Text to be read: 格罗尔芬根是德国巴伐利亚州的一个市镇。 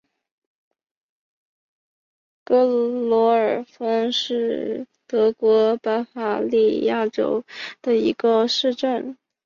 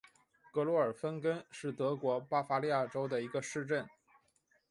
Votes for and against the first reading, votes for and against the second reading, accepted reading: 0, 2, 8, 0, second